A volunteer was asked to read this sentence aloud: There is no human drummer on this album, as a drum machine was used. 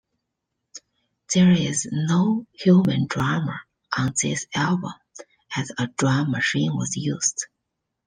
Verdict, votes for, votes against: accepted, 2, 0